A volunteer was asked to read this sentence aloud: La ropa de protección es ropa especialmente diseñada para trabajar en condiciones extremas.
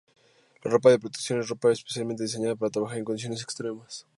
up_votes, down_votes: 4, 0